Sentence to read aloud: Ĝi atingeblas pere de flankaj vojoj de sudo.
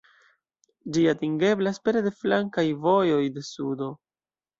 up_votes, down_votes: 2, 0